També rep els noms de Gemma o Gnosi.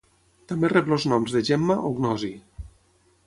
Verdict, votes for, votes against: rejected, 0, 6